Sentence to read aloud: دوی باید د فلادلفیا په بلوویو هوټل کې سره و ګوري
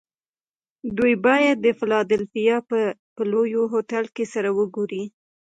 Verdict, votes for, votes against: rejected, 2, 3